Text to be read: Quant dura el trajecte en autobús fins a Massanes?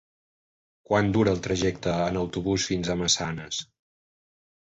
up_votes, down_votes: 3, 0